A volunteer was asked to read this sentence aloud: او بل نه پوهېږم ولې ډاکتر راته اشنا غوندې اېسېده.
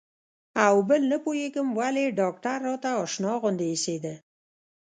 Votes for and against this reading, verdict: 1, 2, rejected